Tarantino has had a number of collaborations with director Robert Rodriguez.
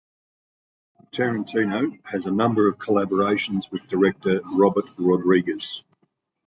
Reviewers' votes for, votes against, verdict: 0, 2, rejected